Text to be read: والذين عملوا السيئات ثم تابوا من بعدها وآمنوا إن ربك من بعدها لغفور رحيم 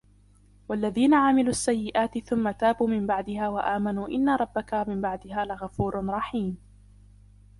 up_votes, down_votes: 2, 0